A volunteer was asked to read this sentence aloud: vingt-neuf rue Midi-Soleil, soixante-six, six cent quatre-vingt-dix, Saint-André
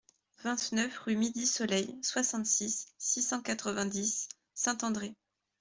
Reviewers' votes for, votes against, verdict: 2, 0, accepted